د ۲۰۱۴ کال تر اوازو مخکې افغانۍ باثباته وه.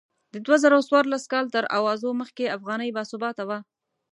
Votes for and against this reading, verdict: 0, 2, rejected